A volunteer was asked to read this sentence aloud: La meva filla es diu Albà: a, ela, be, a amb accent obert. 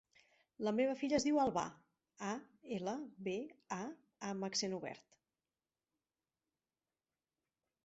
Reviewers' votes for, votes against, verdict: 1, 2, rejected